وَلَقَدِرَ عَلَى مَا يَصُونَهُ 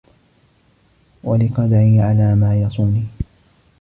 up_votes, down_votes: 0, 2